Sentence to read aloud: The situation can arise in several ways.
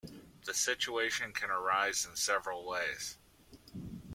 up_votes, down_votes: 2, 0